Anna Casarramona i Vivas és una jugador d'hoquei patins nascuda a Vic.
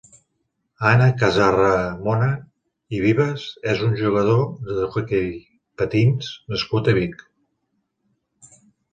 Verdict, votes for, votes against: rejected, 0, 2